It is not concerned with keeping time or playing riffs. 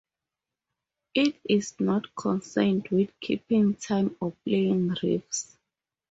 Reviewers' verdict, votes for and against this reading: accepted, 4, 2